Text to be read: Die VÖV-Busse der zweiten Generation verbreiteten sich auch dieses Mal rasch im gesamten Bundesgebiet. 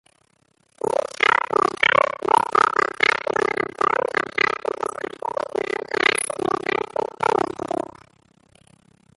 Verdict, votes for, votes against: rejected, 0, 2